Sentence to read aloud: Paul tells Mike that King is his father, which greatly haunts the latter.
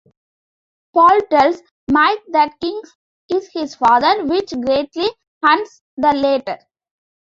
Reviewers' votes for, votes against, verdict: 0, 2, rejected